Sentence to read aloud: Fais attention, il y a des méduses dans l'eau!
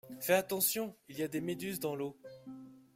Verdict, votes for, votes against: accepted, 2, 0